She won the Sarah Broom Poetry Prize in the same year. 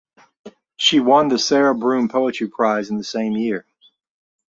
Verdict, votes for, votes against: accepted, 2, 0